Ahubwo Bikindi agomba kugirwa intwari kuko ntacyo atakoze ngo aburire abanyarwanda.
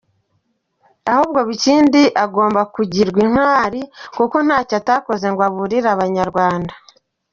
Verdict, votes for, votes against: accepted, 2, 0